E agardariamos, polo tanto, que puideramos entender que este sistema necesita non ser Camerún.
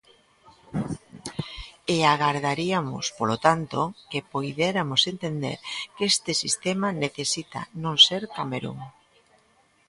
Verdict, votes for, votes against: rejected, 1, 2